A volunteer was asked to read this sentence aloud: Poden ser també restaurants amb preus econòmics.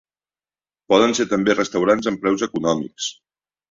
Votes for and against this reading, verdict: 3, 0, accepted